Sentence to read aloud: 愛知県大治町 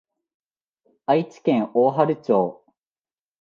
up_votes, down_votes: 2, 0